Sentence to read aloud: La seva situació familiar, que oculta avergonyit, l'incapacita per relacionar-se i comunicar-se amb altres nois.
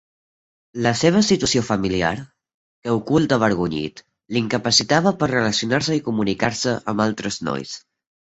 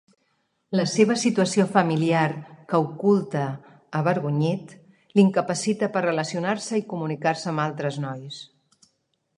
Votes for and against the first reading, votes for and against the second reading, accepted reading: 2, 3, 3, 0, second